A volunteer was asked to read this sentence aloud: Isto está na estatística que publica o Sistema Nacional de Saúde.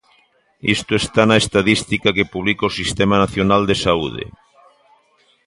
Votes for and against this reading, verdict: 0, 2, rejected